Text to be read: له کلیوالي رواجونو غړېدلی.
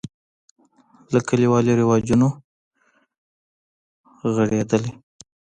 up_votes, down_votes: 1, 2